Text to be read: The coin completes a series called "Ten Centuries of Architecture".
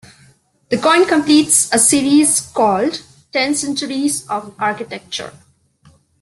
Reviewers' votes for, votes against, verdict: 2, 0, accepted